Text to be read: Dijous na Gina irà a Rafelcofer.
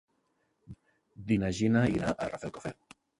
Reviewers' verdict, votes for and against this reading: rejected, 0, 2